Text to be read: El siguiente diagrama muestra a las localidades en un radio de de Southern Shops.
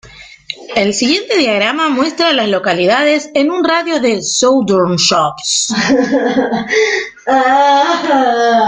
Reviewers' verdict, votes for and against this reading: rejected, 0, 2